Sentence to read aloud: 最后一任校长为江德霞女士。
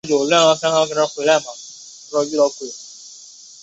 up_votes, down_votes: 0, 2